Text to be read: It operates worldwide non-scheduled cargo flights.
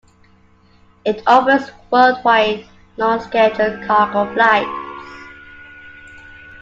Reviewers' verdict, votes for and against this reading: rejected, 1, 2